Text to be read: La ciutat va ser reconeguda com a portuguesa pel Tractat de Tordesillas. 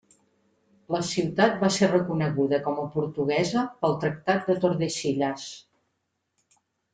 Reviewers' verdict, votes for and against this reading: accepted, 3, 0